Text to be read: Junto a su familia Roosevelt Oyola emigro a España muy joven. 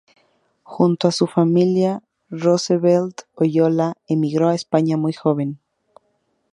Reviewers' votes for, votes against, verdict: 0, 2, rejected